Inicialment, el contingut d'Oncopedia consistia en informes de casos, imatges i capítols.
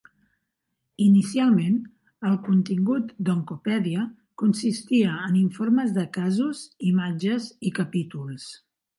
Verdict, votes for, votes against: rejected, 1, 2